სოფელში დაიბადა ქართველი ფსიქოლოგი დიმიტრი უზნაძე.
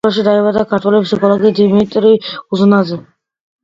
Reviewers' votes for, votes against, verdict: 2, 1, accepted